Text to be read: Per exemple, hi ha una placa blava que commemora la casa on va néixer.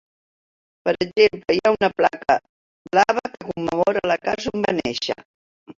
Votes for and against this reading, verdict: 0, 2, rejected